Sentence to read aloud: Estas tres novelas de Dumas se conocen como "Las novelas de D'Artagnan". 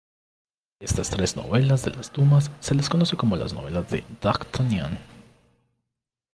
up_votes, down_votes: 0, 2